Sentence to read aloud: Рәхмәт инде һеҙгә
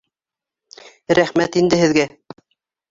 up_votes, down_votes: 2, 1